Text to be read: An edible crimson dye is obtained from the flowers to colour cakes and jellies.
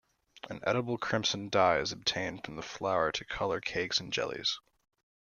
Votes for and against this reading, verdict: 1, 2, rejected